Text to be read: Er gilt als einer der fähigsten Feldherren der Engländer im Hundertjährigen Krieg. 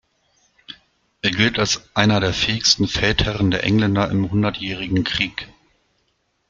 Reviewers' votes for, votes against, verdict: 2, 0, accepted